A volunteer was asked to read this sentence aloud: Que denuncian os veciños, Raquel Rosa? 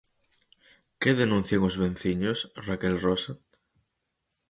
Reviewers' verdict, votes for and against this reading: rejected, 0, 4